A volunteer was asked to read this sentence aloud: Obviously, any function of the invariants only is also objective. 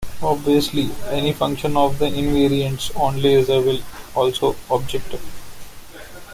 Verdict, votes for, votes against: rejected, 0, 2